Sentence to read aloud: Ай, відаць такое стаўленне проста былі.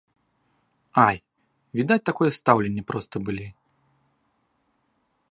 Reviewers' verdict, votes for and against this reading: accepted, 2, 0